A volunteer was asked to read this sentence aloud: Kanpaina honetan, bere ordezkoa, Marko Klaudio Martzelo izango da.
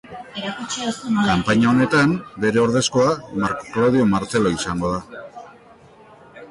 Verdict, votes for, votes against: rejected, 0, 2